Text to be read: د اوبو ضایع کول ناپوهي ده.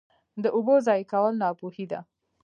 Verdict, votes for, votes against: accepted, 2, 0